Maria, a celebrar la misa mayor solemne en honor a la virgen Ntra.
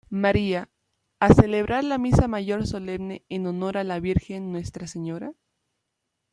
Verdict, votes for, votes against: rejected, 0, 2